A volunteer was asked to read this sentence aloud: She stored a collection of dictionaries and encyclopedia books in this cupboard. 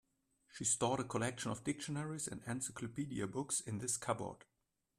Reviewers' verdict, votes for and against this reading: accepted, 2, 0